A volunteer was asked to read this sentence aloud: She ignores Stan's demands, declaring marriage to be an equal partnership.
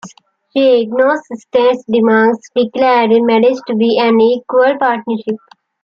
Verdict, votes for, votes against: accepted, 2, 1